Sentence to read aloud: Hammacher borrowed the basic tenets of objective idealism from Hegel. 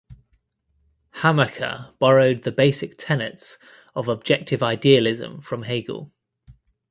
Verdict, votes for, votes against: accepted, 2, 0